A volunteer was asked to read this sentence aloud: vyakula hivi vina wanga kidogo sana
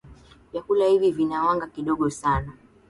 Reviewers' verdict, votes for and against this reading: accepted, 9, 2